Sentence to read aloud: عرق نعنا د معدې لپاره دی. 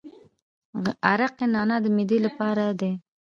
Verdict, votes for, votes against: rejected, 1, 2